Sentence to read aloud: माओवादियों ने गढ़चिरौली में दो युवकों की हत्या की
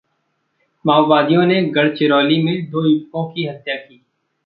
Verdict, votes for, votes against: rejected, 0, 2